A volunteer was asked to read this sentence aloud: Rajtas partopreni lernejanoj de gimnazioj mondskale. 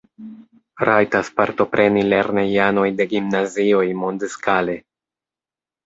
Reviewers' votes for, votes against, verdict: 2, 0, accepted